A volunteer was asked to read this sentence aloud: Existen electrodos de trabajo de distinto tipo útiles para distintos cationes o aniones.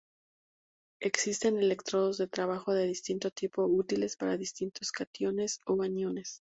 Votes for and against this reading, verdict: 4, 0, accepted